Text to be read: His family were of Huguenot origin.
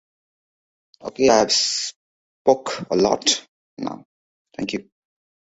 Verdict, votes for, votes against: rejected, 0, 2